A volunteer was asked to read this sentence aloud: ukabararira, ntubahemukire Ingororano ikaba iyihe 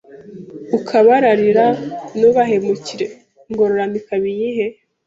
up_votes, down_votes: 2, 0